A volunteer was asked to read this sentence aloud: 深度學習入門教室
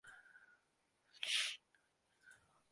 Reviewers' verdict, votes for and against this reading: rejected, 0, 2